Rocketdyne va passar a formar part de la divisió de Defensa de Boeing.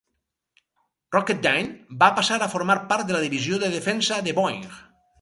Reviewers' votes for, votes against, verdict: 2, 2, rejected